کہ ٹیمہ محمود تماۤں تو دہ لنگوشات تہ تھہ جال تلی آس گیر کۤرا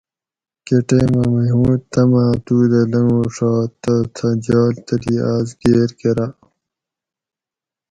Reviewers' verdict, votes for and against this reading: accepted, 4, 0